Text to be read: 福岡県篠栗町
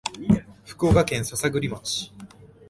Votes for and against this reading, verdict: 0, 2, rejected